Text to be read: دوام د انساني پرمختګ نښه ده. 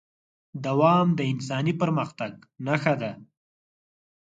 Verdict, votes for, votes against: accepted, 4, 0